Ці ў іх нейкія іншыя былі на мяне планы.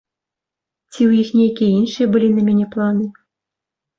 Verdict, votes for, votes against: accepted, 3, 0